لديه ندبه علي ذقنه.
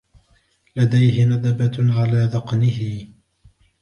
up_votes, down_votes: 2, 1